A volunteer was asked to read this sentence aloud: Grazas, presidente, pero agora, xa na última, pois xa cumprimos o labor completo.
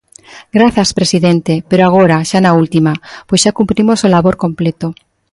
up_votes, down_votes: 2, 0